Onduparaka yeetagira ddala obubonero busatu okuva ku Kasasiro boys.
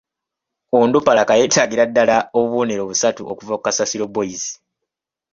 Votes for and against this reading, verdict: 2, 0, accepted